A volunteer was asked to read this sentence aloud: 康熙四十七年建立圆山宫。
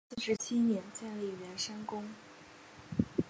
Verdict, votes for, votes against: rejected, 0, 2